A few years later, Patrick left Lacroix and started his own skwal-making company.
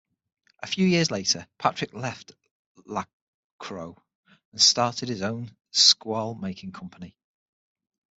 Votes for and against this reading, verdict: 3, 6, rejected